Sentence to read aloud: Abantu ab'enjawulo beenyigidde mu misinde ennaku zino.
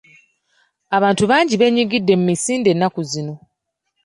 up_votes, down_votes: 1, 2